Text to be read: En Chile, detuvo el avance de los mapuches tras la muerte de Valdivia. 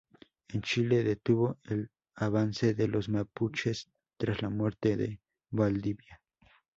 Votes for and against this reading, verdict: 0, 2, rejected